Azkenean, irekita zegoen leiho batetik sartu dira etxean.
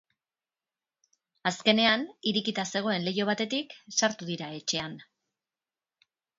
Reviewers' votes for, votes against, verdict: 3, 6, rejected